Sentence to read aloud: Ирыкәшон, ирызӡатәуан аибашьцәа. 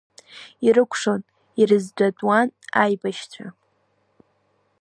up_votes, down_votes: 0, 2